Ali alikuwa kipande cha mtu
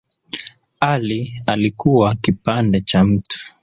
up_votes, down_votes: 0, 2